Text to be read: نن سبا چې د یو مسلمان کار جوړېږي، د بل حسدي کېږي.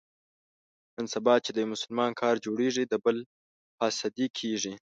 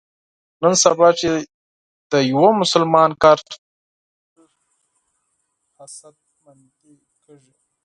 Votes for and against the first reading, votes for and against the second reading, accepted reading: 2, 0, 2, 6, first